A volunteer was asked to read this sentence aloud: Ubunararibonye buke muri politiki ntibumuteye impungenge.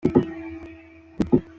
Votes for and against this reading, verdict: 0, 2, rejected